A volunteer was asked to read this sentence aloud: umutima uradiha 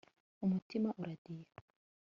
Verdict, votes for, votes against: rejected, 1, 2